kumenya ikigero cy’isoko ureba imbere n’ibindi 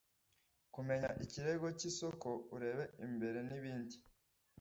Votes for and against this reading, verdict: 1, 2, rejected